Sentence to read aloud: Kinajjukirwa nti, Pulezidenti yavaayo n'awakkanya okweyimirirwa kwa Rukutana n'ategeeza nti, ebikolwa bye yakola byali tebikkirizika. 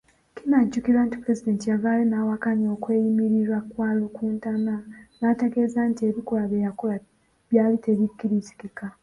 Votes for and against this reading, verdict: 1, 2, rejected